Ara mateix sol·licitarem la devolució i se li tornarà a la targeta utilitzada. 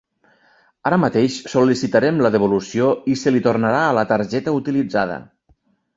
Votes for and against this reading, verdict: 3, 0, accepted